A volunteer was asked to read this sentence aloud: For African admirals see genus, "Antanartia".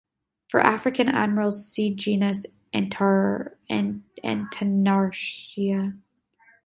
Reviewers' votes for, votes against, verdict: 0, 2, rejected